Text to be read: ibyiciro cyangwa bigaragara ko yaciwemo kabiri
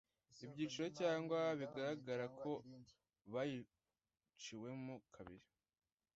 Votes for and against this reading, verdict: 0, 2, rejected